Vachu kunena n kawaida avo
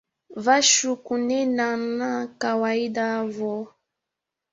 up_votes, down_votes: 0, 2